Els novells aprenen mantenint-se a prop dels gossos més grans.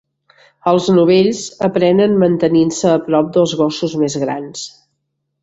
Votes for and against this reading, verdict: 3, 0, accepted